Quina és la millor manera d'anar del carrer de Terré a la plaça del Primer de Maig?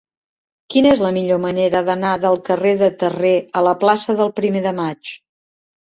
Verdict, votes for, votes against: accepted, 3, 0